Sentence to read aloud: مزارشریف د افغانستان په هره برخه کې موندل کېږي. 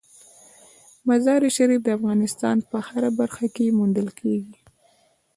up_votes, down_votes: 2, 0